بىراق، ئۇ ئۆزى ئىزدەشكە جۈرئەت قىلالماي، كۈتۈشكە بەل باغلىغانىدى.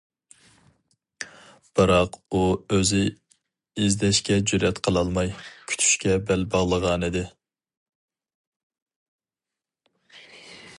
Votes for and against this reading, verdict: 2, 0, accepted